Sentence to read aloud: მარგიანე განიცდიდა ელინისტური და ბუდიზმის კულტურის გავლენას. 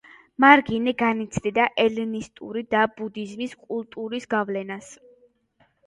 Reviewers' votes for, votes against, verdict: 0, 2, rejected